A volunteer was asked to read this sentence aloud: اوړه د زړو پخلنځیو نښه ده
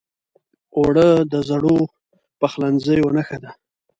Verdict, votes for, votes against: accepted, 2, 0